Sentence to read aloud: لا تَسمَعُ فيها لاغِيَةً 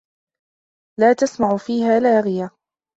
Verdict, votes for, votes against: accepted, 2, 0